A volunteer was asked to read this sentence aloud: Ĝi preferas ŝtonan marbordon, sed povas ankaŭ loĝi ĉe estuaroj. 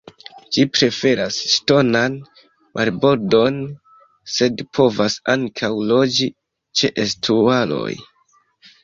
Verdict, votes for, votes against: rejected, 1, 2